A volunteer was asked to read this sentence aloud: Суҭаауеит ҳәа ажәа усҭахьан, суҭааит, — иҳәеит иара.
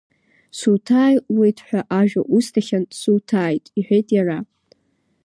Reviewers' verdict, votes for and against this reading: rejected, 0, 2